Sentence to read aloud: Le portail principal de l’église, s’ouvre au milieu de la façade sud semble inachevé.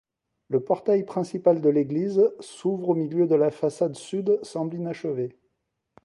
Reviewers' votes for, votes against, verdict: 0, 2, rejected